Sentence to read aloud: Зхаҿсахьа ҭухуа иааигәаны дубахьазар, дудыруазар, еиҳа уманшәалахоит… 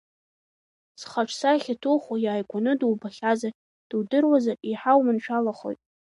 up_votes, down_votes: 2, 1